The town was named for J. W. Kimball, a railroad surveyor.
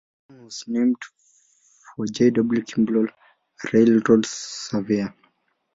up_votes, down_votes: 0, 2